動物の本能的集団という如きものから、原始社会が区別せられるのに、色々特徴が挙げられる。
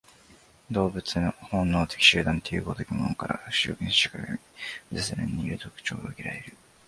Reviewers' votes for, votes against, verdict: 0, 3, rejected